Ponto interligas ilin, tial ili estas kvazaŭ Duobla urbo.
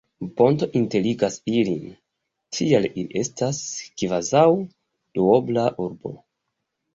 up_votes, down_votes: 2, 0